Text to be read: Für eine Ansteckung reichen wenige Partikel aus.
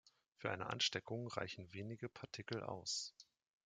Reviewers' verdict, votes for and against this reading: accepted, 2, 0